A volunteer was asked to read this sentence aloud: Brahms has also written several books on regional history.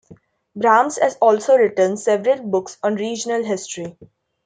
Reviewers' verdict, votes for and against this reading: accepted, 2, 0